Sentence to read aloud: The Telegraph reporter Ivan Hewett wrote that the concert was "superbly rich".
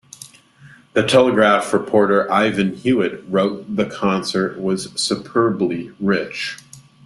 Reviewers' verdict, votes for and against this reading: rejected, 1, 2